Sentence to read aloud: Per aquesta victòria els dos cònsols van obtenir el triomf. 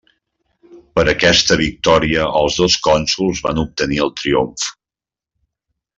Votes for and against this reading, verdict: 3, 0, accepted